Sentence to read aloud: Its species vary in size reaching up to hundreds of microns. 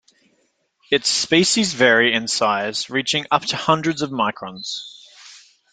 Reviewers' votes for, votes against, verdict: 2, 0, accepted